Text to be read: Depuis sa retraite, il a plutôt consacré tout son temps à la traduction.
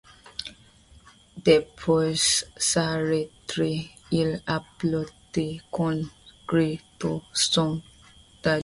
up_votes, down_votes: 2, 1